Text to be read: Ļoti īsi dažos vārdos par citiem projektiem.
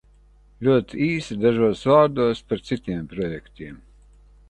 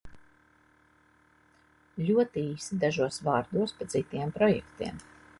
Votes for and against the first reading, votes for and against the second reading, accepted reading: 1, 2, 3, 1, second